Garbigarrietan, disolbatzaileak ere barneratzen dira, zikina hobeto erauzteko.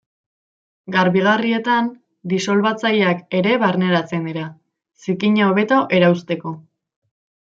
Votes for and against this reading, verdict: 2, 0, accepted